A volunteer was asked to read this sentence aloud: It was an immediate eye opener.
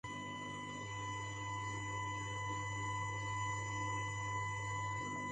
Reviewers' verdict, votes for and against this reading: rejected, 0, 2